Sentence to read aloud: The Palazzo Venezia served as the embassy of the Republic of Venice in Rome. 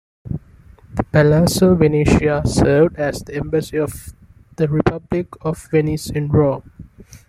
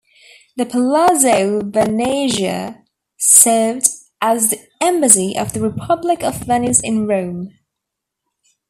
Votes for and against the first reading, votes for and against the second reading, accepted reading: 2, 1, 0, 2, first